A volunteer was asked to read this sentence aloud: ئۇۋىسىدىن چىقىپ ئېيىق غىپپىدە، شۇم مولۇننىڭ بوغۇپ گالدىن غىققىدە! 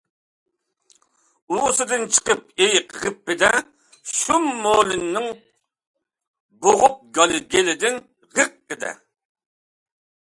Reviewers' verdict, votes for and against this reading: rejected, 0, 2